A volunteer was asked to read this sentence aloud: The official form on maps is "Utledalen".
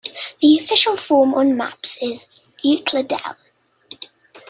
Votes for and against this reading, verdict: 1, 2, rejected